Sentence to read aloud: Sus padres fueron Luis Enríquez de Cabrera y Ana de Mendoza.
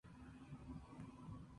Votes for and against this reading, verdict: 0, 2, rejected